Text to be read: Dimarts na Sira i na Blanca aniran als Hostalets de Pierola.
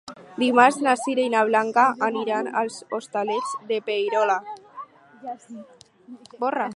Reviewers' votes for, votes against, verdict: 4, 2, accepted